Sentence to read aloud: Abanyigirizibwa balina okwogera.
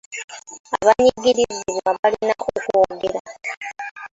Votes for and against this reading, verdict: 2, 1, accepted